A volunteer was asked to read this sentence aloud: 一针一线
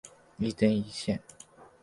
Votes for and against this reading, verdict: 3, 0, accepted